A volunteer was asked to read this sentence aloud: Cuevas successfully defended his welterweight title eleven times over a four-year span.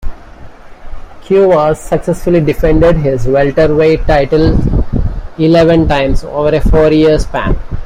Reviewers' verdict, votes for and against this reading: accepted, 2, 0